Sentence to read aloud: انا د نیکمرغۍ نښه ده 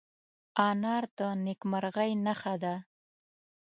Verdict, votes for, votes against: rejected, 1, 2